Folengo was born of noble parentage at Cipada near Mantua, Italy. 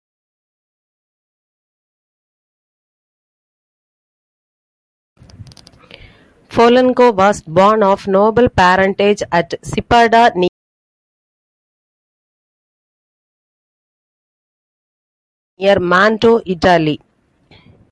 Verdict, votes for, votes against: rejected, 1, 2